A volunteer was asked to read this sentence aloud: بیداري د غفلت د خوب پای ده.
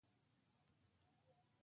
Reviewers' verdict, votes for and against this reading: rejected, 0, 2